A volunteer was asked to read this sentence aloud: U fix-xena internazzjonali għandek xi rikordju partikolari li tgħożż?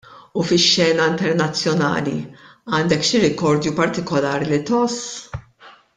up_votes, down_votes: 2, 0